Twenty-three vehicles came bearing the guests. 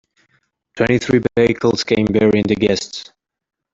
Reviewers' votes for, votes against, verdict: 1, 2, rejected